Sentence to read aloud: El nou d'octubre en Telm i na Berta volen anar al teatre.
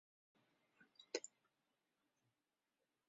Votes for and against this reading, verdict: 0, 2, rejected